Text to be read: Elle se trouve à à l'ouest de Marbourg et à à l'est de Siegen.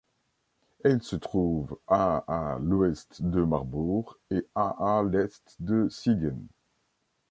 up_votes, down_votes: 2, 0